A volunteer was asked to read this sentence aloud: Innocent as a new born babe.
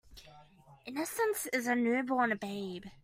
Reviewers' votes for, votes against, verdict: 2, 1, accepted